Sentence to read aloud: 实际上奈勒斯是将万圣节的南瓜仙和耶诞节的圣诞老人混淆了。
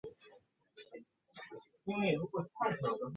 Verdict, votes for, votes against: rejected, 1, 2